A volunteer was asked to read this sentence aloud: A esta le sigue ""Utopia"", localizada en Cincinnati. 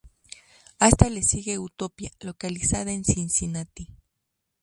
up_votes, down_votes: 2, 2